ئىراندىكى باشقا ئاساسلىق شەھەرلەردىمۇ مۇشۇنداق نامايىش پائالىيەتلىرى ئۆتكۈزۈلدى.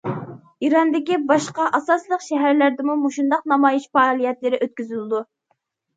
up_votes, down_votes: 0, 2